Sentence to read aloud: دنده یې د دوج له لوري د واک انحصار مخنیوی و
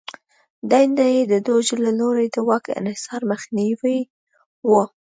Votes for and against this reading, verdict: 2, 0, accepted